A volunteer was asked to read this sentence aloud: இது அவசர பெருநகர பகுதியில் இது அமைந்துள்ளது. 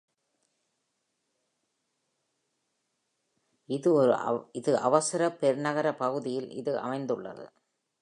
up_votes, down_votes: 1, 3